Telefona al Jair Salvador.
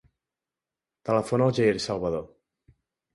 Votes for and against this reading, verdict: 3, 0, accepted